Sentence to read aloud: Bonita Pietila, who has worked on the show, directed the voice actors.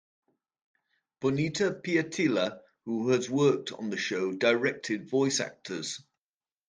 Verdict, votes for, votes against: rejected, 1, 2